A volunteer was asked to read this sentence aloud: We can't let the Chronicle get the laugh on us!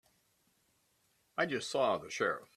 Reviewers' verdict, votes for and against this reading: rejected, 0, 3